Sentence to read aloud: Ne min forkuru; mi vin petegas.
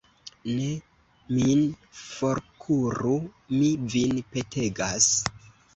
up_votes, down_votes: 2, 0